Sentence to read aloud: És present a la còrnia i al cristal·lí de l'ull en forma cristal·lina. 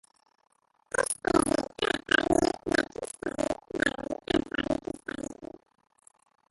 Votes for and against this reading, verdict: 0, 2, rejected